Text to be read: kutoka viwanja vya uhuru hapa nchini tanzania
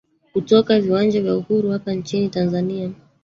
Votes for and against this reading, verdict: 1, 2, rejected